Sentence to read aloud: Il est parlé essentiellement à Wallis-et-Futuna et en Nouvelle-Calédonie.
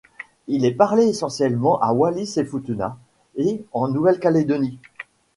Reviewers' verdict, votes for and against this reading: accepted, 2, 0